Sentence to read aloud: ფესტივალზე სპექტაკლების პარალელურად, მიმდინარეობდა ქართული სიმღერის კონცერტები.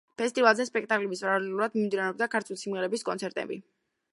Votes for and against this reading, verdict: 1, 3, rejected